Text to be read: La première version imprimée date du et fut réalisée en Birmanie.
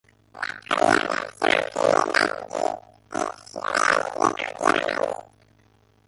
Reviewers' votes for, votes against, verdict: 0, 2, rejected